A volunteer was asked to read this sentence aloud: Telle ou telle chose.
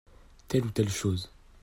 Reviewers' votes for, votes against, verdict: 2, 0, accepted